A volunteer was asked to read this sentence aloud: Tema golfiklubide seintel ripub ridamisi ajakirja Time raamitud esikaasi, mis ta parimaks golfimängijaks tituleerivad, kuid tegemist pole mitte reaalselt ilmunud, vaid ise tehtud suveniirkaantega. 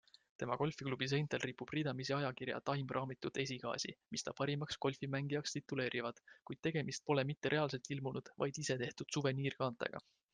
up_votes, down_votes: 2, 0